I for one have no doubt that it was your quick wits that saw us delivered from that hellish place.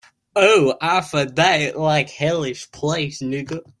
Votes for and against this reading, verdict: 0, 2, rejected